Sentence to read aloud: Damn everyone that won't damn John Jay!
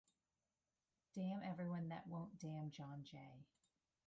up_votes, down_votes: 1, 2